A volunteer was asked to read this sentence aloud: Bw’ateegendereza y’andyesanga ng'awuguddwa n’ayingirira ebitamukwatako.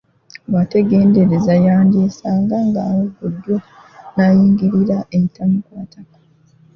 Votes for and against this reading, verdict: 0, 2, rejected